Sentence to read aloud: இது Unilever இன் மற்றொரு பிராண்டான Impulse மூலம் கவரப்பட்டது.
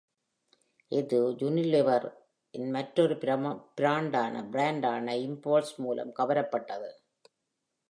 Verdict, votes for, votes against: rejected, 0, 2